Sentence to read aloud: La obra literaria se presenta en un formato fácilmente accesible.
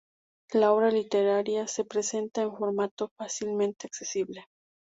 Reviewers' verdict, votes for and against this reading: rejected, 0, 2